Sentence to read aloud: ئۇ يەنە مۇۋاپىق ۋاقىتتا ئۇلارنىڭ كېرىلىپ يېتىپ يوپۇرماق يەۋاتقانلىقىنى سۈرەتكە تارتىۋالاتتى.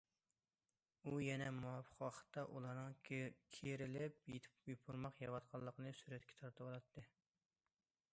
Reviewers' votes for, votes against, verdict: 0, 2, rejected